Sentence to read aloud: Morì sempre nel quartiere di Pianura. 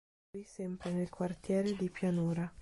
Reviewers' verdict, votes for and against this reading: rejected, 1, 2